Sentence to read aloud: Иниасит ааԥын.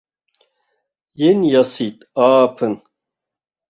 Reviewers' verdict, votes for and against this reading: rejected, 0, 2